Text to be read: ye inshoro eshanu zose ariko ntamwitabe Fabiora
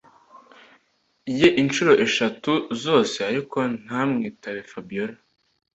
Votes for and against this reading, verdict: 1, 2, rejected